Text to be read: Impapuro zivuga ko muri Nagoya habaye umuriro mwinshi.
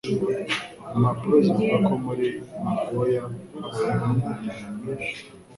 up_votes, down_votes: 0, 2